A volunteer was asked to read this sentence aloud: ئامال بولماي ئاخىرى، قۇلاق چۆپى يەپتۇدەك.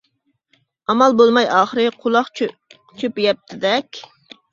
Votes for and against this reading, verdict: 0, 2, rejected